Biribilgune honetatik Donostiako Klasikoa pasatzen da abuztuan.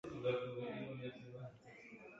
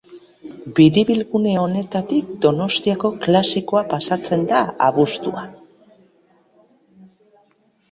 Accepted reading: second